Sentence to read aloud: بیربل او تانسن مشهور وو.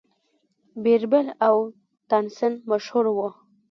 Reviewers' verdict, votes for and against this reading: rejected, 1, 2